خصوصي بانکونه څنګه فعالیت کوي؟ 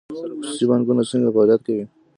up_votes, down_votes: 1, 2